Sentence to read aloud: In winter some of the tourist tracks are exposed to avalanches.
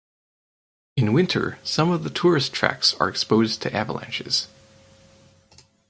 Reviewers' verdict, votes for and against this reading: accepted, 2, 0